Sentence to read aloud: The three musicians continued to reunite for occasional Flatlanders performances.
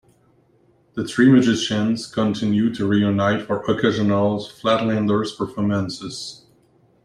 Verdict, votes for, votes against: accepted, 2, 0